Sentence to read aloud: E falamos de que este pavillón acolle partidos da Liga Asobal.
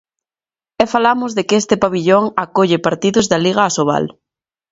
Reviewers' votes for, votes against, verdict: 2, 0, accepted